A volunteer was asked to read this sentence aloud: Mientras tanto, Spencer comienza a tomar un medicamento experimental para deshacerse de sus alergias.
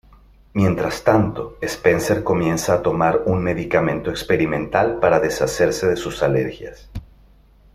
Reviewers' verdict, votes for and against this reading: accepted, 2, 0